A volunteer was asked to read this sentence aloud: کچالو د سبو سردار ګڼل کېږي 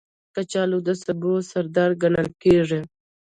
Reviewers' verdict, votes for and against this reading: accepted, 2, 0